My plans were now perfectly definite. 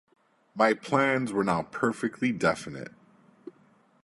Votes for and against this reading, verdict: 2, 0, accepted